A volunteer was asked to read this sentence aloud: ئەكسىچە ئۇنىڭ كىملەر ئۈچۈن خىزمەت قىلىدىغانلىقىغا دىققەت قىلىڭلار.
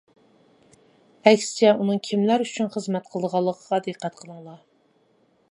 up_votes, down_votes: 2, 1